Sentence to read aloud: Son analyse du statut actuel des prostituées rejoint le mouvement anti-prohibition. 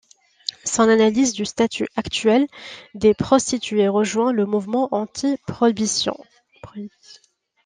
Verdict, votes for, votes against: rejected, 0, 2